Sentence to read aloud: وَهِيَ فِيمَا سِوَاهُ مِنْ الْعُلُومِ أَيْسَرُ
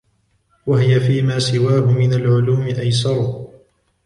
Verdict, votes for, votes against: rejected, 1, 2